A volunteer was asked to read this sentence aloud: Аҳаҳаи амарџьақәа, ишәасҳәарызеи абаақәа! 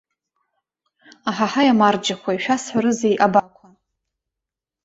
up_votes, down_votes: 1, 2